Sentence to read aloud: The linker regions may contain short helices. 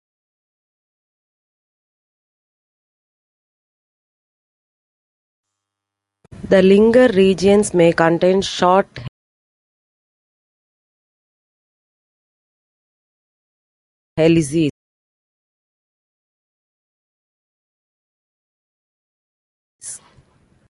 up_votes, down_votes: 0, 2